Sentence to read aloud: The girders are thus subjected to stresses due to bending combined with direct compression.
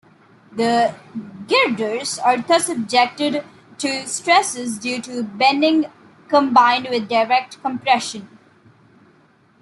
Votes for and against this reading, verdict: 2, 0, accepted